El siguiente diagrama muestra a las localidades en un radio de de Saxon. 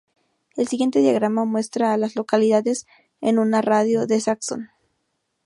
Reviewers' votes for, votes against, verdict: 0, 2, rejected